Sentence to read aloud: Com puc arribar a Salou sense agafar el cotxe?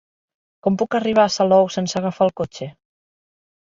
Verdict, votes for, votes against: accepted, 3, 0